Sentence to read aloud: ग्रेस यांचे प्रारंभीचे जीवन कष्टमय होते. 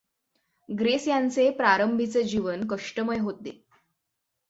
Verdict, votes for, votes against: accepted, 6, 0